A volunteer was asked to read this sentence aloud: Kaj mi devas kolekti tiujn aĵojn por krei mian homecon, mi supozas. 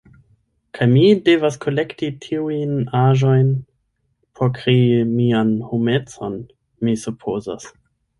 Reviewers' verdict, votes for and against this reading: rejected, 1, 2